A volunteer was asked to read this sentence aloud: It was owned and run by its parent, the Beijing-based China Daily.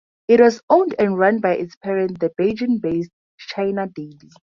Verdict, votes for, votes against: accepted, 2, 0